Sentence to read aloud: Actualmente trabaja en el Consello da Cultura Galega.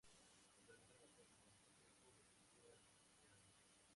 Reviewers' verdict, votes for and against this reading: rejected, 0, 4